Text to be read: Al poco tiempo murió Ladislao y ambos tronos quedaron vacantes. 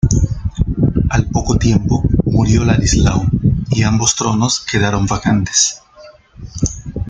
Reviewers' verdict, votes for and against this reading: accepted, 2, 1